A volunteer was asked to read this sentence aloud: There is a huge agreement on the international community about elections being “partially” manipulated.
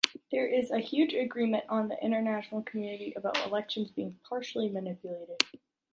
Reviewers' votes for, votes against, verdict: 2, 0, accepted